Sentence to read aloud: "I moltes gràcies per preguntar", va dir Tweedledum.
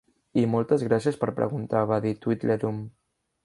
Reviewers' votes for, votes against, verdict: 0, 2, rejected